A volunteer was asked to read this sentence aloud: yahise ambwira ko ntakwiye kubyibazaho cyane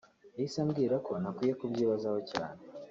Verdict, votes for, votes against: rejected, 1, 2